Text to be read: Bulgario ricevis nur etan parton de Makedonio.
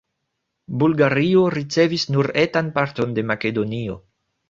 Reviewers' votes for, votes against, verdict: 3, 1, accepted